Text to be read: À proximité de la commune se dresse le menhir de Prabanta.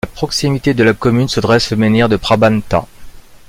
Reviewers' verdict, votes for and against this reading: rejected, 0, 2